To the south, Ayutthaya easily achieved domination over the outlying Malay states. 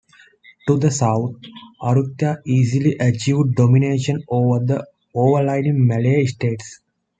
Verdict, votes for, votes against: rejected, 0, 2